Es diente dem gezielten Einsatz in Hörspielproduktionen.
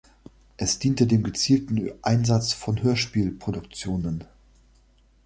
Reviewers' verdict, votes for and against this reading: rejected, 1, 2